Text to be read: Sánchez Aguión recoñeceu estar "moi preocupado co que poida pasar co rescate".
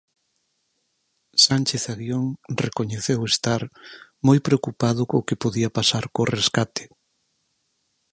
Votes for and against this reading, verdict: 2, 4, rejected